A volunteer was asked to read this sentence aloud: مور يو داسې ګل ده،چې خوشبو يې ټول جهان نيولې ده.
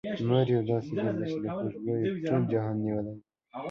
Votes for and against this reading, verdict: 0, 2, rejected